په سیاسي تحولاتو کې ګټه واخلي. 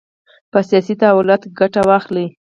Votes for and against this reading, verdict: 4, 0, accepted